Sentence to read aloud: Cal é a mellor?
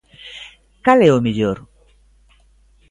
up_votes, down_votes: 0, 2